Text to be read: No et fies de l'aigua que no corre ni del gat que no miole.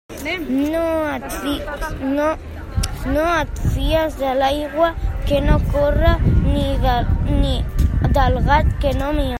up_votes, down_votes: 0, 2